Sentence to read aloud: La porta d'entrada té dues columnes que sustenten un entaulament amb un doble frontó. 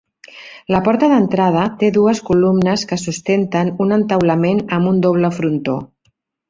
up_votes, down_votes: 3, 0